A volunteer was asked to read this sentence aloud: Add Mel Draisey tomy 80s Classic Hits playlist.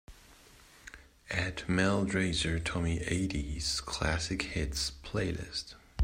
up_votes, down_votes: 0, 2